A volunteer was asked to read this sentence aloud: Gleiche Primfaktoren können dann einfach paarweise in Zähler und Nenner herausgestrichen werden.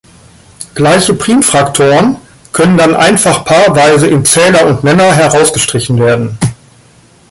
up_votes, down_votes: 0, 2